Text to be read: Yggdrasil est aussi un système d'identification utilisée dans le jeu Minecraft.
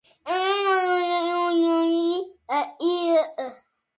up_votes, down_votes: 0, 2